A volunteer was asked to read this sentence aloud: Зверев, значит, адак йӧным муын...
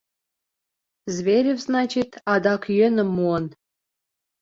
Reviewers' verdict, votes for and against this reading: accepted, 3, 0